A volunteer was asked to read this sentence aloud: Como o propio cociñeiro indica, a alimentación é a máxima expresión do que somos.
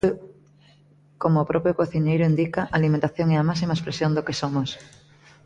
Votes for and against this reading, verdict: 2, 0, accepted